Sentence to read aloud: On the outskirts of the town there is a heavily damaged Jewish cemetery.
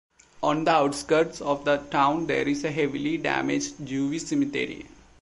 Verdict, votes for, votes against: accepted, 2, 0